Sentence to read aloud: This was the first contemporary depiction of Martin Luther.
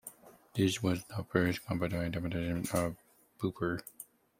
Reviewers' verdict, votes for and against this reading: rejected, 1, 2